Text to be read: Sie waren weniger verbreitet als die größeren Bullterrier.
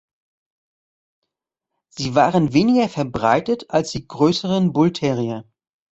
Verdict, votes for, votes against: accepted, 2, 0